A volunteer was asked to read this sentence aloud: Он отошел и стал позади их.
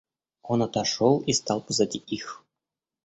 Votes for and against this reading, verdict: 2, 0, accepted